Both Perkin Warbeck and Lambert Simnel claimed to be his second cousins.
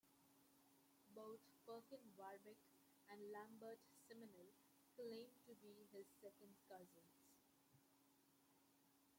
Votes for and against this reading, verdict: 0, 2, rejected